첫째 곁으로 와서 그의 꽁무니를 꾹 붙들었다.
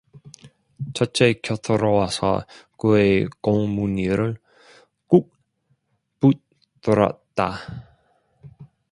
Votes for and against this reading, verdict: 0, 2, rejected